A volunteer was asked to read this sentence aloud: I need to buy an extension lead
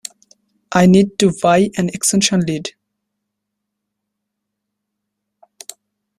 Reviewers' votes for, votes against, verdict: 0, 2, rejected